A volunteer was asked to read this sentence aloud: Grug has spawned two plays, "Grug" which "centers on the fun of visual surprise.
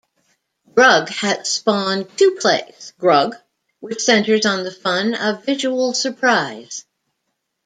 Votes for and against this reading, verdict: 2, 0, accepted